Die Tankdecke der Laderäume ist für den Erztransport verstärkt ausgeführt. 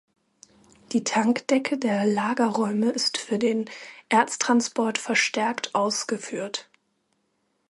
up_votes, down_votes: 0, 2